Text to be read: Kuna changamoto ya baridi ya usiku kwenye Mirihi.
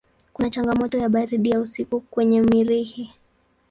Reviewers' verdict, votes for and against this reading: accepted, 2, 0